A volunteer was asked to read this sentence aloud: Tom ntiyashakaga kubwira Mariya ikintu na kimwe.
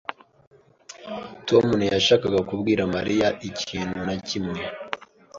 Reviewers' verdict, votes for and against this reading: accepted, 2, 0